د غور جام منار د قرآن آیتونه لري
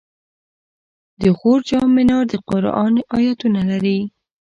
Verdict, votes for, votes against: accepted, 2, 0